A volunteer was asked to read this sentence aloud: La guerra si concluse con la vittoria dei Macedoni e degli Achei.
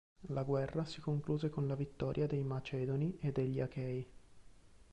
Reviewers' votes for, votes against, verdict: 1, 2, rejected